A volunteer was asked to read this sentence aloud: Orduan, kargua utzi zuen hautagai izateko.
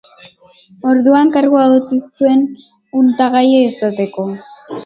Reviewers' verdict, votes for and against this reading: rejected, 0, 2